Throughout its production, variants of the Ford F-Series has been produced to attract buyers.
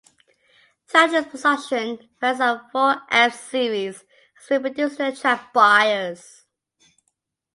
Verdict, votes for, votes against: accepted, 2, 0